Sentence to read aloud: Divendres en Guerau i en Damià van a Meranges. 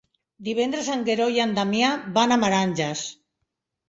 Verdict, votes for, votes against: rejected, 1, 2